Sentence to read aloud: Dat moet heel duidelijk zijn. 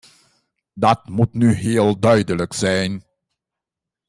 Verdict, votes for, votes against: rejected, 1, 2